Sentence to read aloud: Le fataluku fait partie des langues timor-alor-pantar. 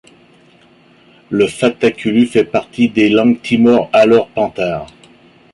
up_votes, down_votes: 1, 2